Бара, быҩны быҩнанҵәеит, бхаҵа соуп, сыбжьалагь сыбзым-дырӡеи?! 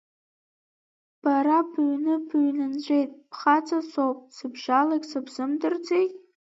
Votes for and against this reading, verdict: 2, 0, accepted